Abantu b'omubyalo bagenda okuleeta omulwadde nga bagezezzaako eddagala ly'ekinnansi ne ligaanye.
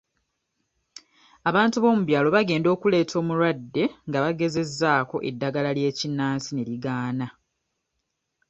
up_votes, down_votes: 0, 2